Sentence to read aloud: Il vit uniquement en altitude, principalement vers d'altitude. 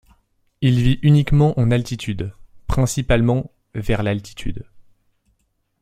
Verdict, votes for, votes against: rejected, 0, 2